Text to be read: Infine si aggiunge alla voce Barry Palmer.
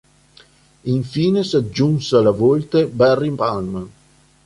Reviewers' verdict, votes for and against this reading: rejected, 2, 4